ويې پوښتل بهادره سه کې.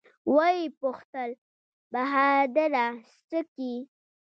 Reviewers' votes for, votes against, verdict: 2, 1, accepted